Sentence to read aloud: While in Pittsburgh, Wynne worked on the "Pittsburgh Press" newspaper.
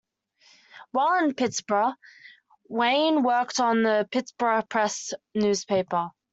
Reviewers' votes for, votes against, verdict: 2, 0, accepted